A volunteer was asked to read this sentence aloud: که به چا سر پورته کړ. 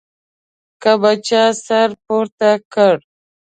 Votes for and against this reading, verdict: 2, 0, accepted